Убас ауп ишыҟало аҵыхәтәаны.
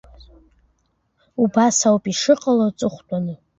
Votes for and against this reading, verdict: 2, 1, accepted